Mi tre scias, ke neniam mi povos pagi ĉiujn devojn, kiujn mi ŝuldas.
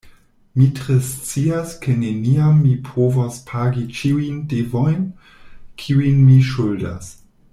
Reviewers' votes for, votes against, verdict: 2, 0, accepted